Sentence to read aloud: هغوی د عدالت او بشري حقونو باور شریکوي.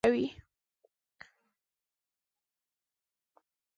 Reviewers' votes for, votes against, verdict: 0, 2, rejected